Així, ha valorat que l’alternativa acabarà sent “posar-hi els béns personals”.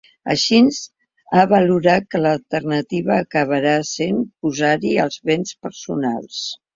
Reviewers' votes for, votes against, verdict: 0, 2, rejected